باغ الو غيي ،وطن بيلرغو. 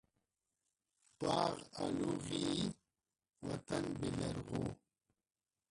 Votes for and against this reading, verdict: 0, 2, rejected